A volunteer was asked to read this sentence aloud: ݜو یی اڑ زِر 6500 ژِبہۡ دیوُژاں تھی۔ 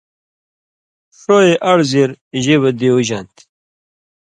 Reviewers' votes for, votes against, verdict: 0, 2, rejected